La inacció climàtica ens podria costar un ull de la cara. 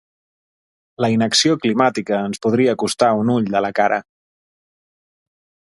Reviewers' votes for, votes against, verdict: 2, 0, accepted